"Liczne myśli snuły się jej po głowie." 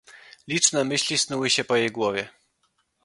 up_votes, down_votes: 0, 2